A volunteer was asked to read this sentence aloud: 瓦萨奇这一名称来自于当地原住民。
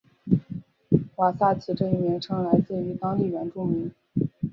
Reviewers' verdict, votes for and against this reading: accepted, 3, 0